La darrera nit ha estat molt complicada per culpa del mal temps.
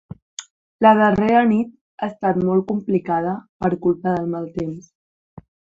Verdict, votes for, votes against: accepted, 3, 0